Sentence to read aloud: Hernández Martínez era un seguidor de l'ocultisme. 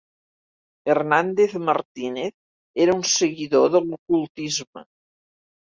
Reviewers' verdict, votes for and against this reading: rejected, 0, 2